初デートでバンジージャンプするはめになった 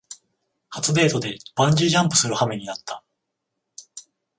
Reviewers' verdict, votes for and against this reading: accepted, 21, 7